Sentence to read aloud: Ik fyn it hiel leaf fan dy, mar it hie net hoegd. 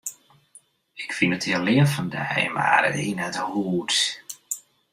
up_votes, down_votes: 1, 2